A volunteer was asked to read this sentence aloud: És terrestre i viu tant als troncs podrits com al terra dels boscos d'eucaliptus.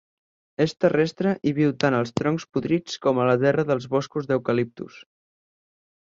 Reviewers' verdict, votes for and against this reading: rejected, 2, 4